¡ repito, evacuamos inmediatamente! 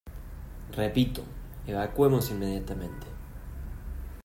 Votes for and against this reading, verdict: 1, 2, rejected